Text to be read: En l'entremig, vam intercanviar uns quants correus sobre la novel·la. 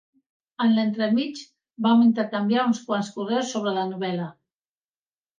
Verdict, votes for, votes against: accepted, 2, 0